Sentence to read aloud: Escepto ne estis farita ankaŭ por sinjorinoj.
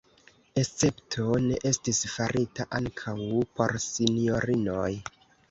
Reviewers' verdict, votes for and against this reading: rejected, 1, 2